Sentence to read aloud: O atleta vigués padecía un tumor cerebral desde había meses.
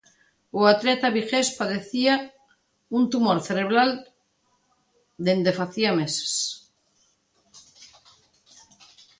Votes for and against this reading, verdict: 0, 2, rejected